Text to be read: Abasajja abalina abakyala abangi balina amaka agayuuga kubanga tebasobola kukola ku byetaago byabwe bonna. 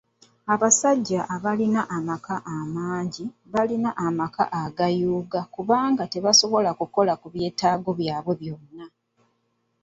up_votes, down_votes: 1, 2